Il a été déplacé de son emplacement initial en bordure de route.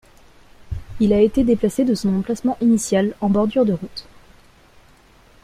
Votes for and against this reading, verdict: 2, 0, accepted